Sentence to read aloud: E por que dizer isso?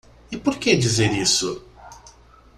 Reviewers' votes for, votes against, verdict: 2, 0, accepted